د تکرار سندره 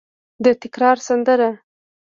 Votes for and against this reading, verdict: 3, 0, accepted